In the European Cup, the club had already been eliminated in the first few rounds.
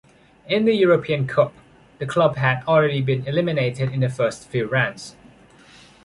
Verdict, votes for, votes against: accepted, 2, 0